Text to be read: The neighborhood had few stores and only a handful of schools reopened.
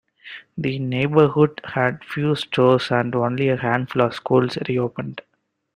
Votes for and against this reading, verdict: 2, 0, accepted